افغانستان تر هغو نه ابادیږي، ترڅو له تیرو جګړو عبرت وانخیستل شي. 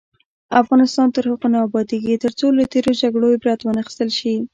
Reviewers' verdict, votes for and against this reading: rejected, 1, 2